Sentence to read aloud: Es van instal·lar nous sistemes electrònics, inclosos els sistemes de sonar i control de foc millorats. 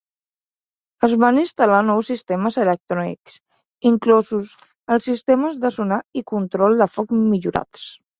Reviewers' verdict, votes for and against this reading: accepted, 2, 1